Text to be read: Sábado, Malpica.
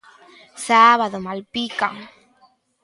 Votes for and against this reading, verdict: 2, 1, accepted